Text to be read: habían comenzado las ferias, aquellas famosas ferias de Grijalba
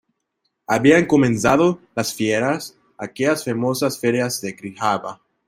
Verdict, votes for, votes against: rejected, 0, 2